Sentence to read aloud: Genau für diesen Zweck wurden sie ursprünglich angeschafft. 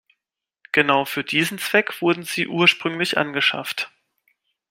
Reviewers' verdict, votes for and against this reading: accepted, 2, 0